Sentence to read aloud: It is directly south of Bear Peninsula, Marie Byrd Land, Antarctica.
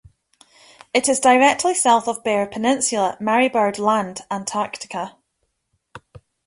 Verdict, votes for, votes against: accepted, 2, 0